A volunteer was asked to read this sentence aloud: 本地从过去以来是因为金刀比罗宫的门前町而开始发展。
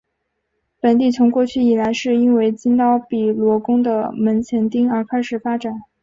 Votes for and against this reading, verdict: 4, 0, accepted